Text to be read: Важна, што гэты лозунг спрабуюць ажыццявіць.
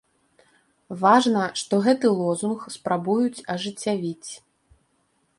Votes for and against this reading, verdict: 2, 0, accepted